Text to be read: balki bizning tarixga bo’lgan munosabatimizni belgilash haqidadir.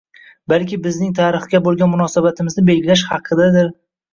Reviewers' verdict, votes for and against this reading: rejected, 1, 2